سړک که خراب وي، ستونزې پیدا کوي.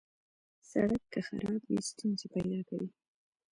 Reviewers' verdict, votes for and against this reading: accepted, 2, 0